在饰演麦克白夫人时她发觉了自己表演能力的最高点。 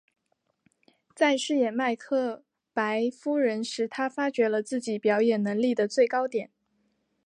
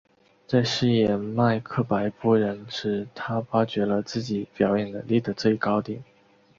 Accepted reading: first